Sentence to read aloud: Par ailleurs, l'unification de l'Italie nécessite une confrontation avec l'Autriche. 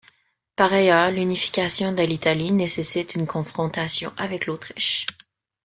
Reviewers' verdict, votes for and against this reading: accepted, 2, 0